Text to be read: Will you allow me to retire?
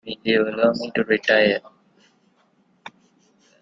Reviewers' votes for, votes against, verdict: 2, 0, accepted